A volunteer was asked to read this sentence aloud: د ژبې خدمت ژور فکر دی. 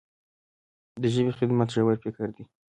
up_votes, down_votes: 2, 0